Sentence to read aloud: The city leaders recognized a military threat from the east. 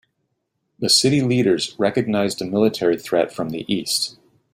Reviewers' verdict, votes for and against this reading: accepted, 3, 0